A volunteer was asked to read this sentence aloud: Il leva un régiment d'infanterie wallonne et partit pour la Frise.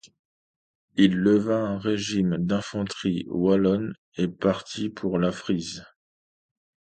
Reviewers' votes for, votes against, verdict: 0, 2, rejected